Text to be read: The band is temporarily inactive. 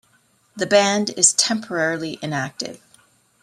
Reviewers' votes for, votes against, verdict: 0, 3, rejected